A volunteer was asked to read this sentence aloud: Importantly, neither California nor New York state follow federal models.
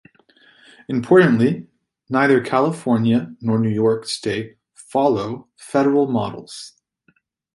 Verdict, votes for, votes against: accepted, 2, 0